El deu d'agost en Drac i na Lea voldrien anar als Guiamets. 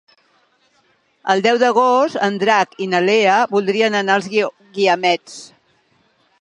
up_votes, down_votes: 0, 2